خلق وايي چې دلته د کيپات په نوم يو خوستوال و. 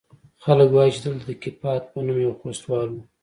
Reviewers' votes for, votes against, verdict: 2, 1, accepted